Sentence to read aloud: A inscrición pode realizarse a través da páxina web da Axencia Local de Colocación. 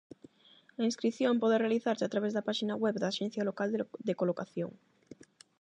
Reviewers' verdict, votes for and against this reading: rejected, 0, 8